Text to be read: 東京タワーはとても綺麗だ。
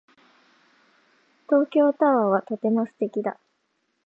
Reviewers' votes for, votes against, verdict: 0, 3, rejected